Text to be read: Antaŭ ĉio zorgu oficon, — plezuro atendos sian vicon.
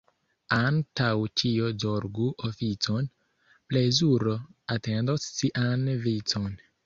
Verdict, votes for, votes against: accepted, 2, 1